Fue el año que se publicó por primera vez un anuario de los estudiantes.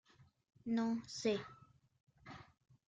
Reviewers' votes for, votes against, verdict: 0, 2, rejected